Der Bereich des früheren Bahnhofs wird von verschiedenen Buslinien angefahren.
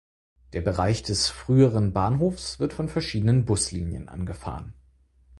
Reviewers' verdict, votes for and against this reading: accepted, 4, 0